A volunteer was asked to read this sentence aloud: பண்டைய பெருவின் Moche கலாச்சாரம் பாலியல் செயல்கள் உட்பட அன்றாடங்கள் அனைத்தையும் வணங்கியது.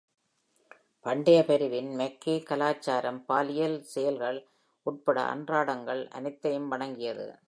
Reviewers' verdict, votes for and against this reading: accepted, 2, 1